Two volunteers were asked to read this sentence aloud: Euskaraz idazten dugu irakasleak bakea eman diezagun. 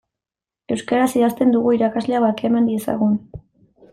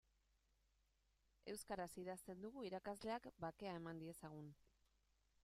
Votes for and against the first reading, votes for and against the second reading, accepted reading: 1, 2, 2, 0, second